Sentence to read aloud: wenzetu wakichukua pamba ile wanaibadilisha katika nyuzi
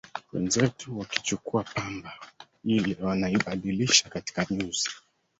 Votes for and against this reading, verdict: 0, 2, rejected